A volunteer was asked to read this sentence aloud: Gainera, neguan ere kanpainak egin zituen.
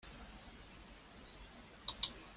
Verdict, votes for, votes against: rejected, 0, 2